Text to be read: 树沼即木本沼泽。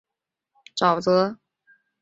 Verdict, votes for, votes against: rejected, 0, 2